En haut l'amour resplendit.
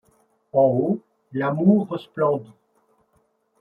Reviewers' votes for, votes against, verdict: 0, 2, rejected